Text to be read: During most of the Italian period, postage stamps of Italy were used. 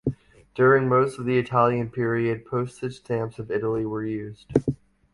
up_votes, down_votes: 2, 0